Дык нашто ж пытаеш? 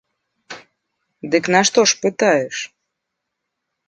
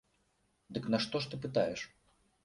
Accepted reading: first